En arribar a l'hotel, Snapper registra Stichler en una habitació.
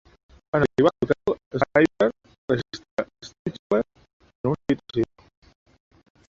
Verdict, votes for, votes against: rejected, 0, 2